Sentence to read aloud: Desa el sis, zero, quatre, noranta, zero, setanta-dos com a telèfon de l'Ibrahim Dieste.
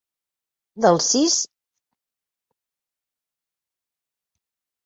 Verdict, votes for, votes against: rejected, 0, 2